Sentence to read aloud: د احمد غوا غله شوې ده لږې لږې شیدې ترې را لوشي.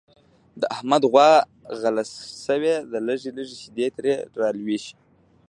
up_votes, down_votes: 1, 2